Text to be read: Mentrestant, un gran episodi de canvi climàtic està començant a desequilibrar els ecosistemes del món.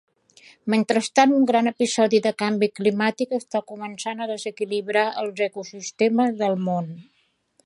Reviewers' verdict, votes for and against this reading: accepted, 3, 0